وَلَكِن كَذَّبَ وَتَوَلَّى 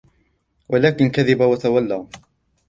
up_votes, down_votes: 1, 2